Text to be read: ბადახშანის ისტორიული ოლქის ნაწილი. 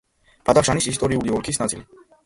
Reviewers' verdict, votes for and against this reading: rejected, 1, 2